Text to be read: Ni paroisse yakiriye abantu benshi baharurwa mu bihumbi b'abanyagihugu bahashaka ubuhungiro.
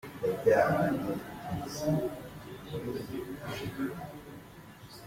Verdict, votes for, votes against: rejected, 0, 2